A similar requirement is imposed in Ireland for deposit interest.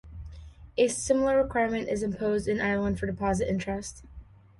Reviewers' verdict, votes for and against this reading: accepted, 2, 0